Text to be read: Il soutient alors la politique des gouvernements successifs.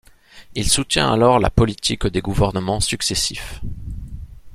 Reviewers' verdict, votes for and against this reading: accepted, 2, 0